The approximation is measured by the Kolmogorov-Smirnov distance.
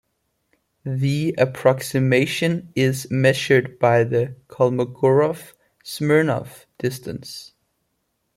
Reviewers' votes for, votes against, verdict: 2, 0, accepted